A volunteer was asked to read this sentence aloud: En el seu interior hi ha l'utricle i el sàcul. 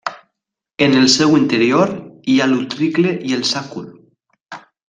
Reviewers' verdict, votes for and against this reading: accepted, 2, 0